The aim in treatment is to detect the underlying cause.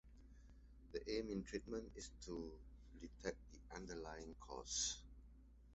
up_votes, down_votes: 2, 0